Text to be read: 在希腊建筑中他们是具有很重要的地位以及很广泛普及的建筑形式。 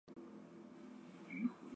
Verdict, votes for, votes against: rejected, 0, 2